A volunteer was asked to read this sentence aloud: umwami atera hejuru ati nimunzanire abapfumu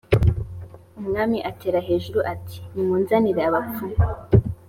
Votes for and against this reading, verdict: 2, 0, accepted